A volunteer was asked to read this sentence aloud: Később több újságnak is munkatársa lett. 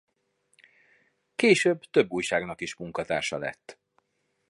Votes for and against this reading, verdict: 2, 0, accepted